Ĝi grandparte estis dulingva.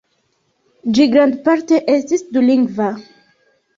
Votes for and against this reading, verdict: 2, 0, accepted